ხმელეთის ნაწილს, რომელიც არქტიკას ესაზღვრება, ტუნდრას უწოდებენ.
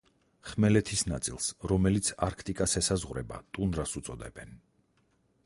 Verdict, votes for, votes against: accepted, 4, 0